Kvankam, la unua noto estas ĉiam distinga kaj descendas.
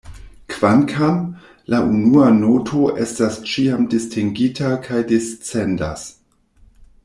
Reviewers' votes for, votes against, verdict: 1, 2, rejected